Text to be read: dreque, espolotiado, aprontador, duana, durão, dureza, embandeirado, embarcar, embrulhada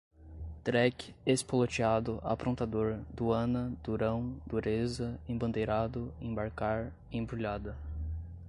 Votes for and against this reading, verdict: 2, 0, accepted